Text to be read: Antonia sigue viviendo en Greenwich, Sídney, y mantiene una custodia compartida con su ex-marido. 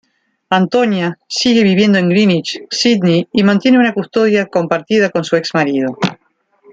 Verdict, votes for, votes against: accepted, 2, 0